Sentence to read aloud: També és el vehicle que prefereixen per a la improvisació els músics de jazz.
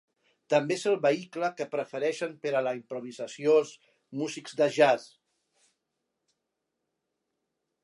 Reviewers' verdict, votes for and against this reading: rejected, 0, 2